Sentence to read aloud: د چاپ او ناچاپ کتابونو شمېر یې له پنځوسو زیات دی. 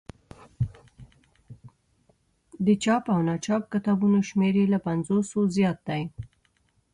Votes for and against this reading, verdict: 1, 2, rejected